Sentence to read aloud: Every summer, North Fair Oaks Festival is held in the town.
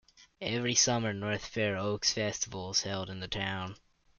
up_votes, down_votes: 2, 0